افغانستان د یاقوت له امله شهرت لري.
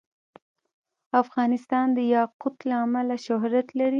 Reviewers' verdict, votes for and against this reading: accepted, 2, 0